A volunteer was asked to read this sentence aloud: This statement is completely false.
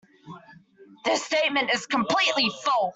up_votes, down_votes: 1, 2